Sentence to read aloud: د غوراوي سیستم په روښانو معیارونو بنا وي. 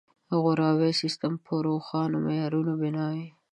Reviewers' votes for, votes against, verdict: 2, 0, accepted